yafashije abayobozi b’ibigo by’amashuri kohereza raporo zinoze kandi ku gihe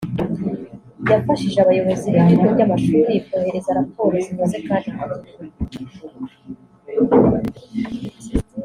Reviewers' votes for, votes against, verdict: 2, 1, accepted